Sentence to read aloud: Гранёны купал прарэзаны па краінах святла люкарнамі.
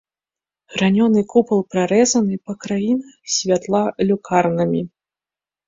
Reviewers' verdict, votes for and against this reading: accepted, 3, 0